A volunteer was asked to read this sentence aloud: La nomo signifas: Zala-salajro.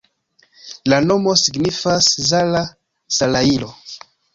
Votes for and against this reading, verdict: 1, 2, rejected